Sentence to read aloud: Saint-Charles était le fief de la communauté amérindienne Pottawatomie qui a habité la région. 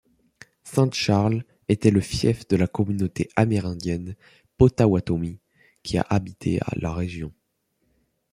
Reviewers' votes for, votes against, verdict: 0, 2, rejected